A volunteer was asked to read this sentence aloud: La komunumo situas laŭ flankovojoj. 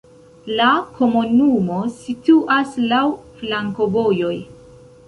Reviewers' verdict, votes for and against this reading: rejected, 1, 2